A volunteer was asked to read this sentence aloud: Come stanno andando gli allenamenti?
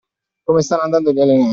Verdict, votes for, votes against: accepted, 2, 1